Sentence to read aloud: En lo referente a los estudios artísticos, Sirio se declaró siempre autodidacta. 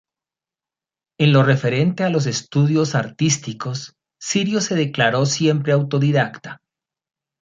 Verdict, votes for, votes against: accepted, 2, 0